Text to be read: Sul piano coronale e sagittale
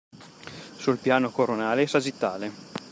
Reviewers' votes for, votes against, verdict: 2, 0, accepted